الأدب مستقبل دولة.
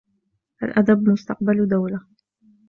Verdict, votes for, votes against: accepted, 2, 0